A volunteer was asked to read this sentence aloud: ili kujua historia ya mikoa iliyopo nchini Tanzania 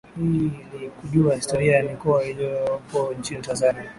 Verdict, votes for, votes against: rejected, 1, 2